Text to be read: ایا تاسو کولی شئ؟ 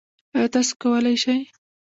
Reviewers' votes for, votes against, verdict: 1, 2, rejected